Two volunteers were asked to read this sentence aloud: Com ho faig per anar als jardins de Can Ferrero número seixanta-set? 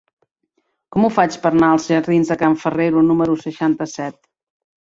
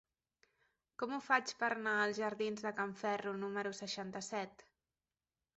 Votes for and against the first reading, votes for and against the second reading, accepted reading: 4, 0, 0, 2, first